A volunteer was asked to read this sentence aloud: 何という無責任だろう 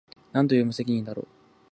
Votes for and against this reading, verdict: 2, 0, accepted